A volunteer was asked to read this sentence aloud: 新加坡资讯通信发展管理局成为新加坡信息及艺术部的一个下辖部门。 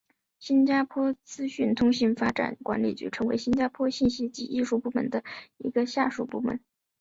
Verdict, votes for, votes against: rejected, 1, 2